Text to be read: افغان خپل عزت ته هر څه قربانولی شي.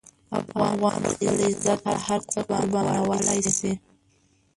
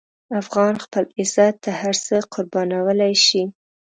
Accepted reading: second